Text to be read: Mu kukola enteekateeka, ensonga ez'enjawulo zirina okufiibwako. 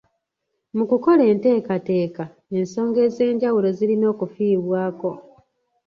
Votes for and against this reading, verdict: 2, 0, accepted